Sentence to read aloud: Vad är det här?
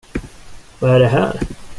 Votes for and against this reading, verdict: 2, 0, accepted